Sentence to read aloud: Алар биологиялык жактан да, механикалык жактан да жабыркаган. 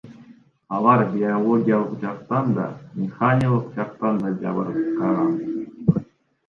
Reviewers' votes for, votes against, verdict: 1, 2, rejected